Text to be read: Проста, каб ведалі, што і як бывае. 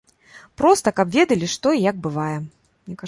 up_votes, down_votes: 0, 2